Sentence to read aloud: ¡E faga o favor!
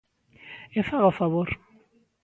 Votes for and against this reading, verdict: 2, 0, accepted